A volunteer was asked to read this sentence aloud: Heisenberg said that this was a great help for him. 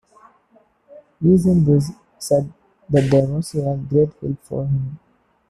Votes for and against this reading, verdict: 0, 2, rejected